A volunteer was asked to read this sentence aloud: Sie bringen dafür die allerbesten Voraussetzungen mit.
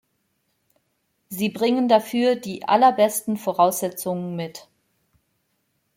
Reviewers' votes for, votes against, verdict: 2, 0, accepted